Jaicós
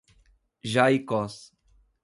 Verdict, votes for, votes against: accepted, 2, 0